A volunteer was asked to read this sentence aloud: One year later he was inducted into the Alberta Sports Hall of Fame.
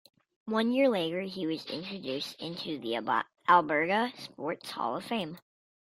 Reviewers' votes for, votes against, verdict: 1, 2, rejected